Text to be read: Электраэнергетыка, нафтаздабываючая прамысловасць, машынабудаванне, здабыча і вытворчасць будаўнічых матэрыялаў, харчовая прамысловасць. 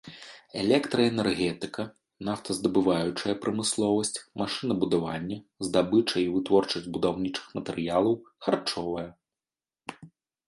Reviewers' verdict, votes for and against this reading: rejected, 0, 2